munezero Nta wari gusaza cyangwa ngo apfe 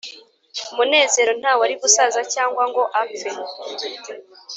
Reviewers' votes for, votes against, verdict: 2, 0, accepted